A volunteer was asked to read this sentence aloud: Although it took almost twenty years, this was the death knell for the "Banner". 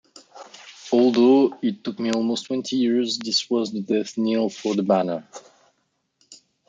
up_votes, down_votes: 0, 2